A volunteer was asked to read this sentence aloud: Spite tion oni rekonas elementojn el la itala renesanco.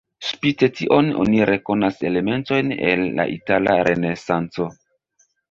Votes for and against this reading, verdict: 1, 2, rejected